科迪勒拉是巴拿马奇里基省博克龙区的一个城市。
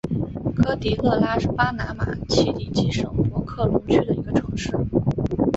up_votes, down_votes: 3, 0